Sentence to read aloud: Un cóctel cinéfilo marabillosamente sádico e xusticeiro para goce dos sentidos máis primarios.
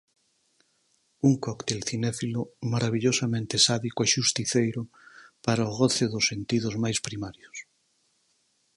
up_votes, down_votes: 2, 4